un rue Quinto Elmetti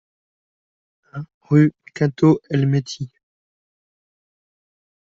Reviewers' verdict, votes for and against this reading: rejected, 1, 2